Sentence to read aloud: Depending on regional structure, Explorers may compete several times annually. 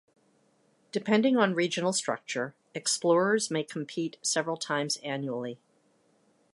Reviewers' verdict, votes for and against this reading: rejected, 1, 2